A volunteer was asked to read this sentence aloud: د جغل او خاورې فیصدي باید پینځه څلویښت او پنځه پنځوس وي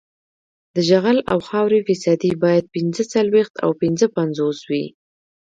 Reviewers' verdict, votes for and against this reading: rejected, 1, 2